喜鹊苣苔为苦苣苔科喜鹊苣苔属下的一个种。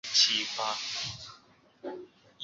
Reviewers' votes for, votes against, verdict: 0, 2, rejected